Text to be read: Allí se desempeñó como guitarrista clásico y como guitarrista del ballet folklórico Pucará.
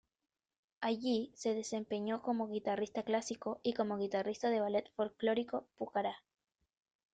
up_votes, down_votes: 2, 0